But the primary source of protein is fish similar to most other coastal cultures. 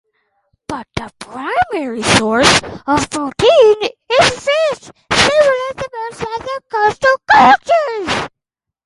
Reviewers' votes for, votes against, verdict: 0, 4, rejected